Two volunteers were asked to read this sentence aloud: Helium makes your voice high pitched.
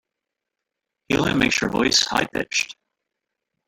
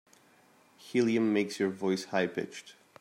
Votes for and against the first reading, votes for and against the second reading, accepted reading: 1, 2, 2, 0, second